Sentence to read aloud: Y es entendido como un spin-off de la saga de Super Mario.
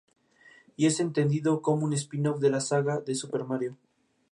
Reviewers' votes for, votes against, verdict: 2, 0, accepted